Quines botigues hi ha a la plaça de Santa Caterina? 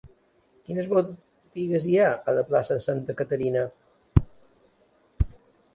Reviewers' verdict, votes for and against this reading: rejected, 1, 2